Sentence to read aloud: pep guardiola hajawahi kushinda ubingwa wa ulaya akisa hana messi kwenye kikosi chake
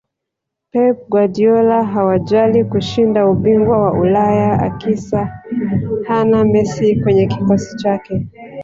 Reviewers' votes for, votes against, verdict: 2, 3, rejected